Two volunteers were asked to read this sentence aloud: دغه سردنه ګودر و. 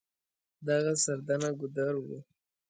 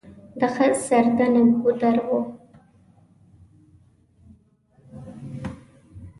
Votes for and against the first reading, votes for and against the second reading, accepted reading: 2, 0, 0, 2, first